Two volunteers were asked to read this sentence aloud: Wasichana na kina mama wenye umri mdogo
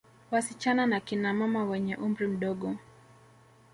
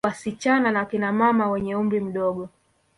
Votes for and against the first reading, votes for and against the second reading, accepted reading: 2, 1, 1, 2, first